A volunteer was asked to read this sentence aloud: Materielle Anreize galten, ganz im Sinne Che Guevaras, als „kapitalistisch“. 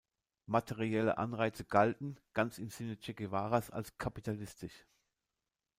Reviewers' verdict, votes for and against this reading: accepted, 2, 0